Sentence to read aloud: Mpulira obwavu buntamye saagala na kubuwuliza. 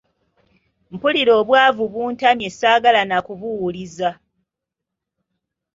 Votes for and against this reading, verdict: 2, 1, accepted